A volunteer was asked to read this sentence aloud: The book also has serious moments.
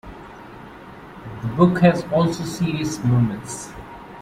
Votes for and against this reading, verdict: 1, 2, rejected